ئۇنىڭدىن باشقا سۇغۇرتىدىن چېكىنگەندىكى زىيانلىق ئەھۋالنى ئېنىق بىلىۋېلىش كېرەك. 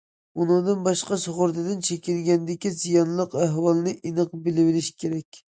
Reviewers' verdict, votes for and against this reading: accepted, 2, 0